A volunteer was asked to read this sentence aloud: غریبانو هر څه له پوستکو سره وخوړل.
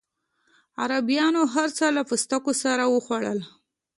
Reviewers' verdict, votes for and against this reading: rejected, 0, 2